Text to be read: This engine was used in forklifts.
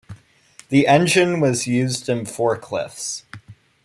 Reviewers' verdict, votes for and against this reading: rejected, 1, 2